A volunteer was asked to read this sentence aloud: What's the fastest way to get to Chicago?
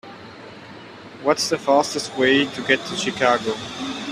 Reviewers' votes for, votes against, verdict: 2, 1, accepted